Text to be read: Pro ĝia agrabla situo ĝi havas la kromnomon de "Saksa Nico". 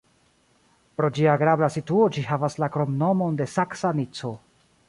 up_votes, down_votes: 0, 2